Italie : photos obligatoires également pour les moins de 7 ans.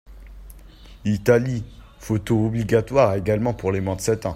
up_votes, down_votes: 0, 2